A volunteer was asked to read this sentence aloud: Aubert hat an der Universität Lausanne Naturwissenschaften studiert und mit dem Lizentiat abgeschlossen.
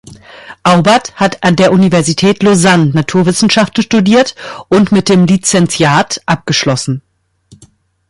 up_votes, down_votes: 2, 0